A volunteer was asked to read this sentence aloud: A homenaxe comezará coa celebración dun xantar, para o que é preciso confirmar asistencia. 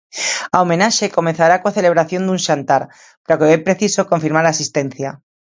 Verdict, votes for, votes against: rejected, 1, 2